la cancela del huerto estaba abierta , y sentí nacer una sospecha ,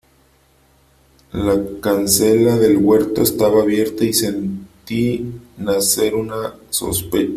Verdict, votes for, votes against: rejected, 1, 2